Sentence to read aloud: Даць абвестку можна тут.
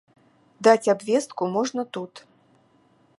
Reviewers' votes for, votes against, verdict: 2, 0, accepted